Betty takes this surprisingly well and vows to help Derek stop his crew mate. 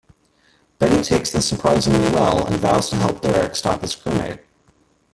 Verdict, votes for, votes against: rejected, 0, 2